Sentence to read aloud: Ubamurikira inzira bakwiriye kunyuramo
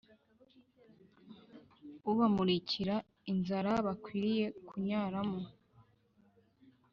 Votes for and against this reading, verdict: 2, 4, rejected